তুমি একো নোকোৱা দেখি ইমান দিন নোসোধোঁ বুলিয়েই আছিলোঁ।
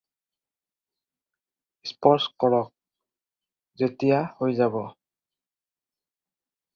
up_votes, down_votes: 0, 4